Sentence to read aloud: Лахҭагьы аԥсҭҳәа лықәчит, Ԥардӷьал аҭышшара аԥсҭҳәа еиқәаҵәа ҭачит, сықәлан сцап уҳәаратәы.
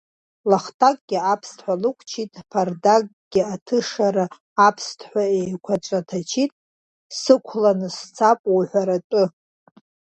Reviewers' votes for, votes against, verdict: 1, 2, rejected